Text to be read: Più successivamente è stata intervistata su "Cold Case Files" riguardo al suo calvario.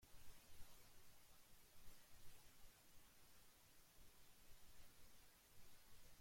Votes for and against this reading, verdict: 0, 2, rejected